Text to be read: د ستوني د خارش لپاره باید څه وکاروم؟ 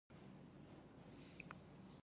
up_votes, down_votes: 0, 2